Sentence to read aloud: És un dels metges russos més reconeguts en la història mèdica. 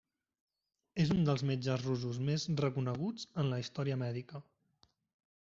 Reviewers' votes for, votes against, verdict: 1, 2, rejected